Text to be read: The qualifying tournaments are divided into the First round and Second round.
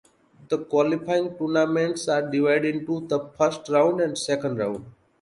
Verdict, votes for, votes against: accepted, 2, 0